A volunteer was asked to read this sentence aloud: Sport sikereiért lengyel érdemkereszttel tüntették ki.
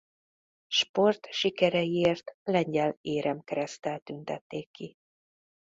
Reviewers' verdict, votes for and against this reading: rejected, 1, 2